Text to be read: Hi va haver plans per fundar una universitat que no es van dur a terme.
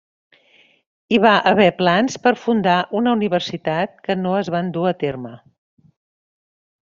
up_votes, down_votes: 2, 0